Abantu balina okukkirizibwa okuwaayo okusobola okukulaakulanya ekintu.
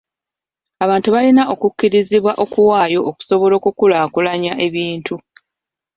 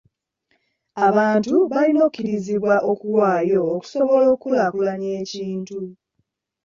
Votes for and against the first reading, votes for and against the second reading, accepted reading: 0, 2, 2, 0, second